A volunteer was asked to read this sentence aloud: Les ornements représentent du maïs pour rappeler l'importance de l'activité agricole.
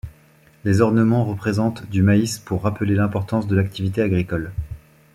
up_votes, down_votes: 2, 0